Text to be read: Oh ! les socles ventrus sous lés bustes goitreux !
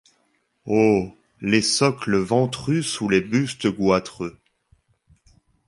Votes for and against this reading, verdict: 2, 0, accepted